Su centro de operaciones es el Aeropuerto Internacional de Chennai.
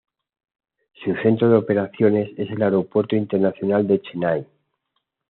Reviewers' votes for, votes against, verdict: 2, 0, accepted